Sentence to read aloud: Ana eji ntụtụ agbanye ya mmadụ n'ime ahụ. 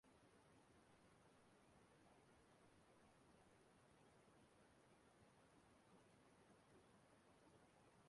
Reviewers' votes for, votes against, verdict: 0, 2, rejected